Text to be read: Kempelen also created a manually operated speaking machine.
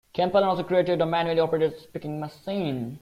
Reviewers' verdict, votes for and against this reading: rejected, 1, 2